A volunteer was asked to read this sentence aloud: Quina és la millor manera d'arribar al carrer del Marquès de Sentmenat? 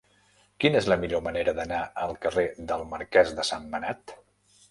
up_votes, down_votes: 1, 2